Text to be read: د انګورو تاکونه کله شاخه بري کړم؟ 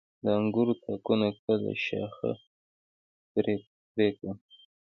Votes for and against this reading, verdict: 2, 1, accepted